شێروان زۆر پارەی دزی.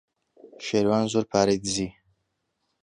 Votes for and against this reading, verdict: 1, 2, rejected